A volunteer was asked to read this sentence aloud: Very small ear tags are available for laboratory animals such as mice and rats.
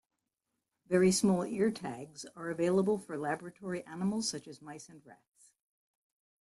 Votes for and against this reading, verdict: 1, 2, rejected